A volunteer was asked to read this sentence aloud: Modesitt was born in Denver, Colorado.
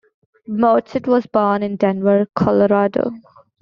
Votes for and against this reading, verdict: 2, 0, accepted